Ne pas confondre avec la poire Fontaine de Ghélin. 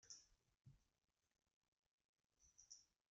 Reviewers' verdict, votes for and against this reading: rejected, 0, 2